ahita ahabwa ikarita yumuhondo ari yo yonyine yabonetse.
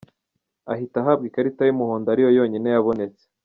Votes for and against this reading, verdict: 2, 0, accepted